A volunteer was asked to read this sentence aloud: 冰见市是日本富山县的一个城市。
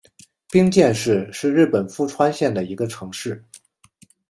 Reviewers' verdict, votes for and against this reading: rejected, 1, 2